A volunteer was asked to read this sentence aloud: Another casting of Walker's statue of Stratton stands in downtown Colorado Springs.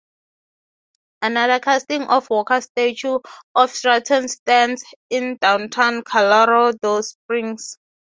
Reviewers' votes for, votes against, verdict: 3, 0, accepted